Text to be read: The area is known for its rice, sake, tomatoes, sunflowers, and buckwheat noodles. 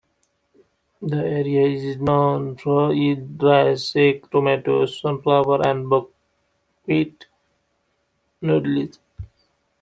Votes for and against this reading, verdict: 2, 1, accepted